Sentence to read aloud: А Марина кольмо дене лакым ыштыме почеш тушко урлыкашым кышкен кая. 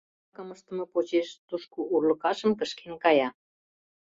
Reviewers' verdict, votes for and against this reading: rejected, 0, 2